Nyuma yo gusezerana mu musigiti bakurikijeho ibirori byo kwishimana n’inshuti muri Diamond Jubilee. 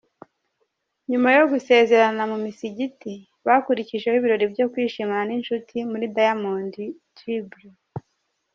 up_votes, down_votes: 1, 2